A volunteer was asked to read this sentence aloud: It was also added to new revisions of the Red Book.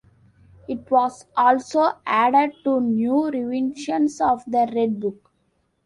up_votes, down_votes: 1, 2